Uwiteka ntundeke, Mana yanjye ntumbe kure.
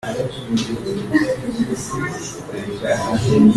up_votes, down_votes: 0, 2